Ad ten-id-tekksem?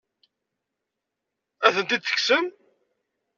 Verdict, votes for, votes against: rejected, 1, 2